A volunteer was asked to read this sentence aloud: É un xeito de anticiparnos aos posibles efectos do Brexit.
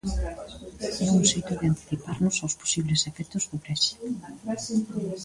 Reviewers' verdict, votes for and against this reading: rejected, 1, 2